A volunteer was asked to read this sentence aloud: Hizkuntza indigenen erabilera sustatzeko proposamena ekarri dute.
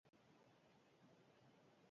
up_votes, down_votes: 0, 6